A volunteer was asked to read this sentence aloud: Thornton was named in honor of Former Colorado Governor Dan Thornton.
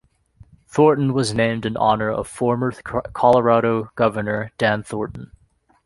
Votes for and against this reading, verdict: 0, 2, rejected